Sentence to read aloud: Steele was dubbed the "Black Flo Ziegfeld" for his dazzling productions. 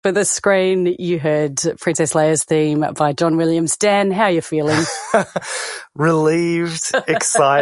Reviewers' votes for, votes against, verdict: 0, 4, rejected